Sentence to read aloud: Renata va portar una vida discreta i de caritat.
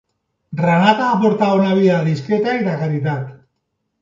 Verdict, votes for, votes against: accepted, 4, 0